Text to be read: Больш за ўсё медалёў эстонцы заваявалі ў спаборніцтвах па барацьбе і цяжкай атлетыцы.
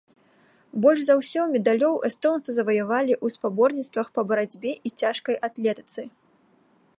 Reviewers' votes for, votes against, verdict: 2, 0, accepted